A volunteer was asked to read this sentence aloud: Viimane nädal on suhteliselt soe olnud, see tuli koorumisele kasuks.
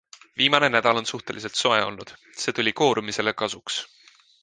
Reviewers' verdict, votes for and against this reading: accepted, 2, 0